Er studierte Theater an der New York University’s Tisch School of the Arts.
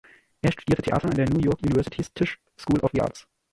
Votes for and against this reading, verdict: 0, 3, rejected